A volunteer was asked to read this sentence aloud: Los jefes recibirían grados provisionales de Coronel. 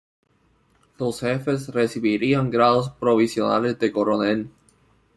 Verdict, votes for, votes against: accepted, 2, 1